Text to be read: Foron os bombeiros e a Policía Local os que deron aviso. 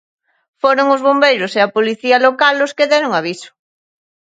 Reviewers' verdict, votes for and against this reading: accepted, 2, 0